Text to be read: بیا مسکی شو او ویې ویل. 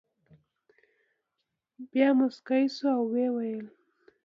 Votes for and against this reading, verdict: 2, 1, accepted